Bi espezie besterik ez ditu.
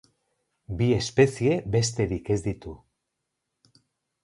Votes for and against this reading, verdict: 4, 0, accepted